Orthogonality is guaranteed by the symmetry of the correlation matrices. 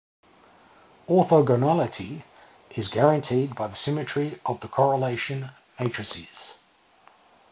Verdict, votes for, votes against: accepted, 2, 0